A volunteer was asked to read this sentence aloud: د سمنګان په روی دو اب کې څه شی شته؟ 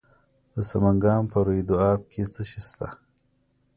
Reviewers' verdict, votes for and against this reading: accepted, 2, 0